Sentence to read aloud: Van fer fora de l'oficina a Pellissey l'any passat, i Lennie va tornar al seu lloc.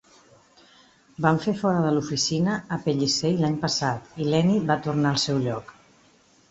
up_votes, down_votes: 2, 0